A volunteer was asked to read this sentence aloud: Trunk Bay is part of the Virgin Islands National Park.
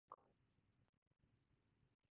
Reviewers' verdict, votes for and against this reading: rejected, 0, 4